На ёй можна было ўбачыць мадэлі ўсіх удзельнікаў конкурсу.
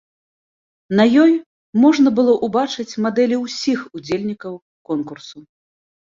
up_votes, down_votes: 2, 1